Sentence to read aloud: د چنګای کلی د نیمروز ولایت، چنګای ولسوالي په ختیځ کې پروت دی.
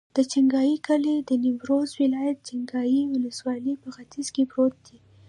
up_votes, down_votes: 0, 2